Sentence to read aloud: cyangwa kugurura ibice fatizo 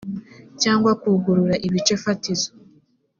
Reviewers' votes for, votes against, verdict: 2, 0, accepted